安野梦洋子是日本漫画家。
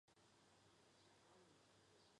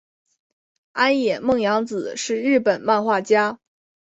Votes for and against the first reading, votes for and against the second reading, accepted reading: 0, 3, 2, 0, second